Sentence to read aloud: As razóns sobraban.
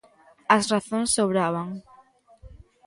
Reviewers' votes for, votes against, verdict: 2, 0, accepted